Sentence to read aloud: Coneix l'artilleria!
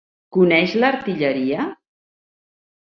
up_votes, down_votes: 1, 2